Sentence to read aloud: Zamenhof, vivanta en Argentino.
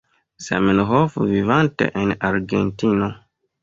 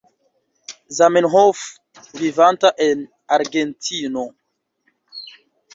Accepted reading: second